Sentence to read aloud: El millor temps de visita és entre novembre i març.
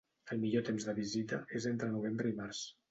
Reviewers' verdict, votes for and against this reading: accepted, 2, 0